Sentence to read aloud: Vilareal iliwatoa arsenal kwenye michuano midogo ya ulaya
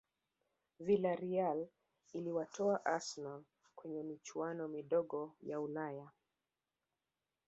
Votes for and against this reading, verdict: 1, 2, rejected